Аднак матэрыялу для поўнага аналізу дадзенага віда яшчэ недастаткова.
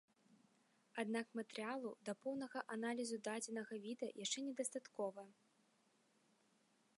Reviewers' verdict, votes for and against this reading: rejected, 1, 2